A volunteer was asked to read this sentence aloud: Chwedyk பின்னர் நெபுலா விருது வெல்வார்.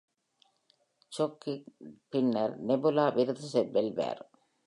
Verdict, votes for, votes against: rejected, 0, 3